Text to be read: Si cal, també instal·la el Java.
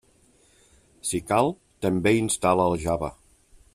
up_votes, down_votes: 3, 0